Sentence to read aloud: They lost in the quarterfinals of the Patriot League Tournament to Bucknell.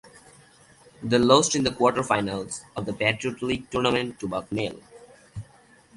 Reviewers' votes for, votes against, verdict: 2, 0, accepted